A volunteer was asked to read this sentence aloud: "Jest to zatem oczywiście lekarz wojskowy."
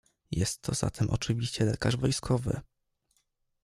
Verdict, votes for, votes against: accepted, 2, 0